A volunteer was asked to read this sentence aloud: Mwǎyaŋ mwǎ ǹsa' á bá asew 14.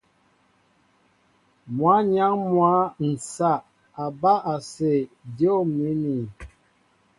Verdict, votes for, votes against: rejected, 0, 2